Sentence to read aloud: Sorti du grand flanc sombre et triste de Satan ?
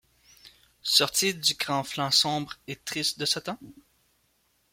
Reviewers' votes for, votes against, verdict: 2, 0, accepted